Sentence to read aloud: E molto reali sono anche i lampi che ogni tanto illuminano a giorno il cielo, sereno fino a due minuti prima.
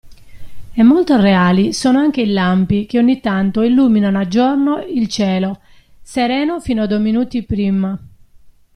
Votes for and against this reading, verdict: 2, 0, accepted